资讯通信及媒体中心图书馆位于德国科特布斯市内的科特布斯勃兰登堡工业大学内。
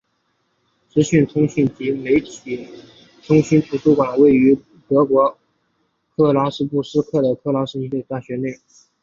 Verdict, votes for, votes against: rejected, 0, 3